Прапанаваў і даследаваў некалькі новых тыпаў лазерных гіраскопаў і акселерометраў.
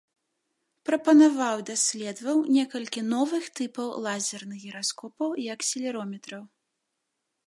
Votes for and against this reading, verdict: 2, 0, accepted